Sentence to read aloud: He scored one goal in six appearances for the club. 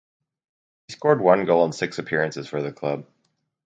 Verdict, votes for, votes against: rejected, 2, 2